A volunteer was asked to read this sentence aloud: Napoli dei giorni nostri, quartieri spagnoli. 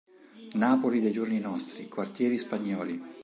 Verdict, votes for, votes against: accepted, 4, 0